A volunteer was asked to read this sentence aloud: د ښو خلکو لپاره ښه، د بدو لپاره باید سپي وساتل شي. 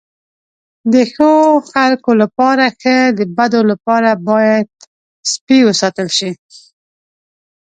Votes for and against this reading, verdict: 2, 0, accepted